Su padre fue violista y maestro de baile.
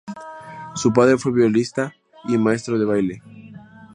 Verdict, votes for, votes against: rejected, 0, 2